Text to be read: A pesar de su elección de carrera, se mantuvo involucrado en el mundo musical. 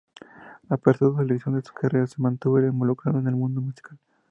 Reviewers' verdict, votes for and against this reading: rejected, 0, 2